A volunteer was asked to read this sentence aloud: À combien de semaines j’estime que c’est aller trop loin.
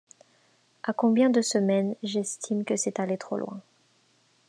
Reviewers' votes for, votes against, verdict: 2, 0, accepted